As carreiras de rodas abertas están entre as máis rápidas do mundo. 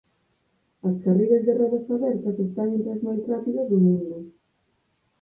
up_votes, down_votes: 4, 2